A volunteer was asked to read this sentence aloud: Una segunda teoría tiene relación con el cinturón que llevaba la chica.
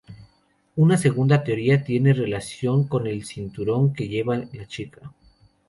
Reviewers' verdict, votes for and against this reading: rejected, 0, 2